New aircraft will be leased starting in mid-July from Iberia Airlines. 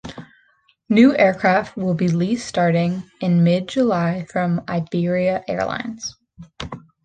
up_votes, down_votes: 2, 0